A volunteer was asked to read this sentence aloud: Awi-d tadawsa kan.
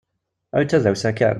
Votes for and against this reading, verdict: 1, 2, rejected